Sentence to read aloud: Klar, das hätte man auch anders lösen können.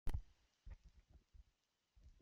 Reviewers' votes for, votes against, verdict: 0, 2, rejected